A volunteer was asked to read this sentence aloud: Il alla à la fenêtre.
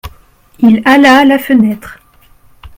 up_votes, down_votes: 1, 2